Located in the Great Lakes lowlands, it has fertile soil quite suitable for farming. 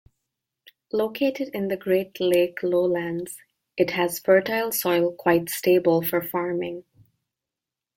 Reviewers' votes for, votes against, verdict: 0, 3, rejected